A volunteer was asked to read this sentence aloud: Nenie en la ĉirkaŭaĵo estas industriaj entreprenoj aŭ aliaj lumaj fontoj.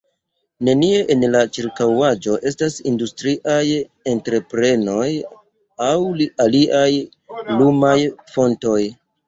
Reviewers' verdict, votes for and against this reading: rejected, 0, 2